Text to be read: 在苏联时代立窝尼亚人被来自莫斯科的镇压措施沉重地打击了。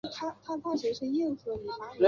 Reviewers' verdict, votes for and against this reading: accepted, 5, 0